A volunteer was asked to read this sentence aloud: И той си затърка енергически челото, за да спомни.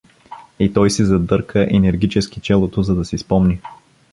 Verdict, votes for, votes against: rejected, 0, 2